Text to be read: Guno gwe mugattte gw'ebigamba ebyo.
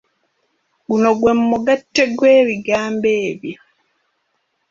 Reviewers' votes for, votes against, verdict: 2, 0, accepted